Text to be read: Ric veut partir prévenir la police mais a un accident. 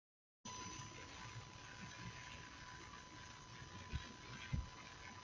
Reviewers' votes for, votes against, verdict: 0, 2, rejected